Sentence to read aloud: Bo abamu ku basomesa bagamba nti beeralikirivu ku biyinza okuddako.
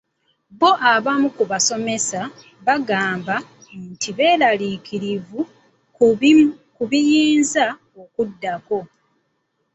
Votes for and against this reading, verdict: 0, 2, rejected